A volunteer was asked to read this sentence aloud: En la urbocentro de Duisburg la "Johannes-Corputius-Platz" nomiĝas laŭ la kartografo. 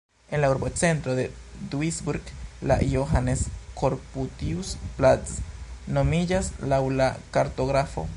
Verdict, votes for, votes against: rejected, 1, 2